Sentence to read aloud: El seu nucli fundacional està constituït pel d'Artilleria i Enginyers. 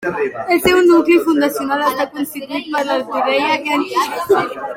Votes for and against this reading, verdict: 0, 2, rejected